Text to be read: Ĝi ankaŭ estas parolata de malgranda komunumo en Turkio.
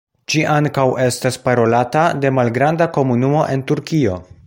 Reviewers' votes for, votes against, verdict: 2, 1, accepted